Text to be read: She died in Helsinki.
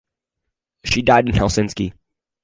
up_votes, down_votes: 2, 0